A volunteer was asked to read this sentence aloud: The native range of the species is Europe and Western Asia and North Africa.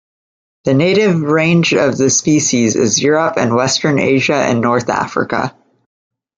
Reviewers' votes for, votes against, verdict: 2, 0, accepted